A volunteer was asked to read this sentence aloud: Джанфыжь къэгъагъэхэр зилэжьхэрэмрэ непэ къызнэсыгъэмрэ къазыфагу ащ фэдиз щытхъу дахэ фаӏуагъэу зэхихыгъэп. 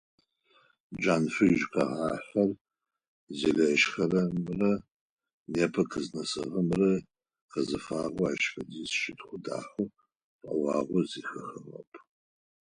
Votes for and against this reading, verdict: 2, 4, rejected